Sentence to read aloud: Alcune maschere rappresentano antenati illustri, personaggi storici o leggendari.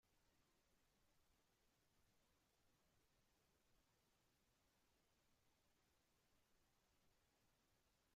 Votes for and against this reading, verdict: 0, 2, rejected